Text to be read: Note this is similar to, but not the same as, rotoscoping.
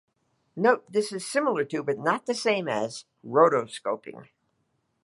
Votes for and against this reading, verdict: 2, 1, accepted